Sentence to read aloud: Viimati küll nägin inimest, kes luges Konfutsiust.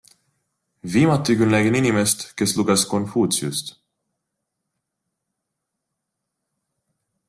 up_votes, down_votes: 2, 0